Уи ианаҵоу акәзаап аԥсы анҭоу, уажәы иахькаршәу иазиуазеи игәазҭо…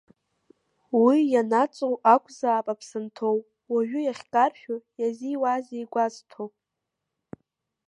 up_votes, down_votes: 2, 0